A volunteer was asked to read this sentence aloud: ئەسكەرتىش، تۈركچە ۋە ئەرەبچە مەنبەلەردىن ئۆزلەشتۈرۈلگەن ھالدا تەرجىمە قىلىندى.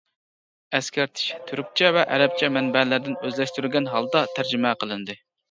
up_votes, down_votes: 0, 2